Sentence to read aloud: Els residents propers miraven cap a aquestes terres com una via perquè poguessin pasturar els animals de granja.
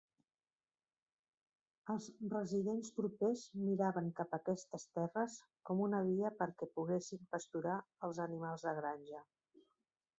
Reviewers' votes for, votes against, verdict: 0, 2, rejected